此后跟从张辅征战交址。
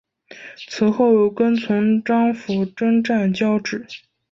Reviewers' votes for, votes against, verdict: 2, 0, accepted